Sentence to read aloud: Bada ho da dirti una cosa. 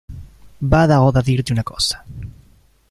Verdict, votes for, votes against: rejected, 0, 2